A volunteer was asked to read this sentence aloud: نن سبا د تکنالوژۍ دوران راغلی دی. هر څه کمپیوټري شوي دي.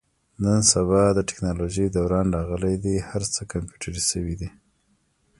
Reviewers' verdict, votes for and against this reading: rejected, 1, 2